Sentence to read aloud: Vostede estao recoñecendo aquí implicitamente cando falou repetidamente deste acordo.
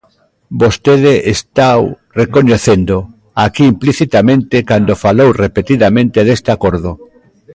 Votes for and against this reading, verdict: 1, 2, rejected